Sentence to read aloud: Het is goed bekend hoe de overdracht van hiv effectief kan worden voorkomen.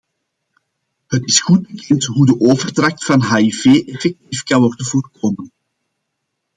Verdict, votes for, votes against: accepted, 2, 0